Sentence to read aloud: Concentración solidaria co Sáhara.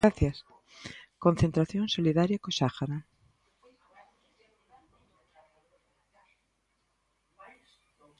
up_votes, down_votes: 0, 2